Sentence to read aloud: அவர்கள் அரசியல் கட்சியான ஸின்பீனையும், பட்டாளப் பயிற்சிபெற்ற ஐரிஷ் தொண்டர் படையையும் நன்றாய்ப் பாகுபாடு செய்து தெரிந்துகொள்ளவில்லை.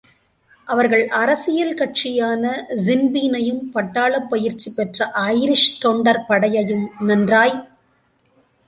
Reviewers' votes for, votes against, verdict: 0, 2, rejected